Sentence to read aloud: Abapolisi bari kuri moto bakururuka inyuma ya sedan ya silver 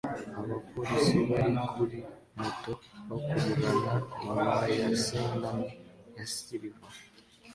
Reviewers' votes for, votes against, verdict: 0, 2, rejected